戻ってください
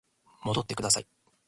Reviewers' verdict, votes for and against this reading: accepted, 2, 0